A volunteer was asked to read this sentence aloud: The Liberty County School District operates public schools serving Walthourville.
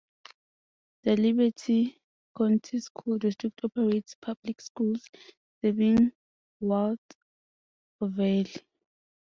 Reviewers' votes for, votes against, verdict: 1, 2, rejected